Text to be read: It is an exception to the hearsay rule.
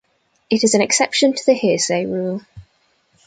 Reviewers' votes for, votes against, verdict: 2, 0, accepted